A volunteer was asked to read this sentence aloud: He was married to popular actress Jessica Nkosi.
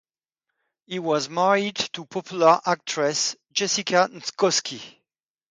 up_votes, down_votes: 2, 2